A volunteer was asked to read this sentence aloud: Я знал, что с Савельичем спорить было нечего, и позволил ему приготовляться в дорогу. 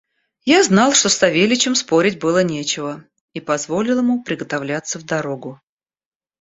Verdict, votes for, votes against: accepted, 2, 0